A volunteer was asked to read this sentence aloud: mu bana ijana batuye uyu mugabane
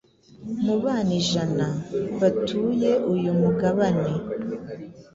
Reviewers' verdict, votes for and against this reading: accepted, 2, 0